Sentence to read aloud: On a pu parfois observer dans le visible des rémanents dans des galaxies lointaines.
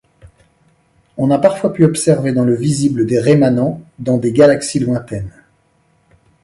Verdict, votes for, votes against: rejected, 1, 2